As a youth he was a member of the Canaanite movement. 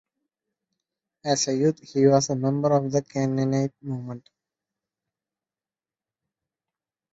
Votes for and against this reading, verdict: 0, 2, rejected